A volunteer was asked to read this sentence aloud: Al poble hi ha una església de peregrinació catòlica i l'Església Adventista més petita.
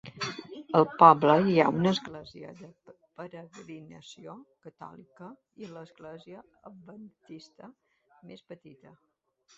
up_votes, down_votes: 0, 2